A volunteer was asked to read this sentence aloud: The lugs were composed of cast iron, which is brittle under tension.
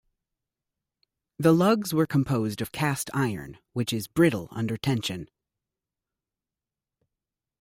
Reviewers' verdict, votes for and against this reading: accepted, 2, 0